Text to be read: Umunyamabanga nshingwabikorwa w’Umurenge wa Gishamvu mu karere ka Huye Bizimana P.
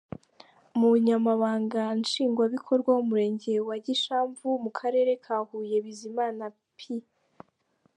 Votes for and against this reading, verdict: 0, 2, rejected